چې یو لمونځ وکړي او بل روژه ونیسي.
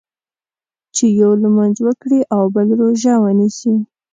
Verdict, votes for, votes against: accepted, 2, 0